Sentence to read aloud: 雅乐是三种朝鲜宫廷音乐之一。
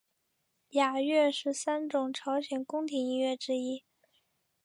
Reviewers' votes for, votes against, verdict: 2, 0, accepted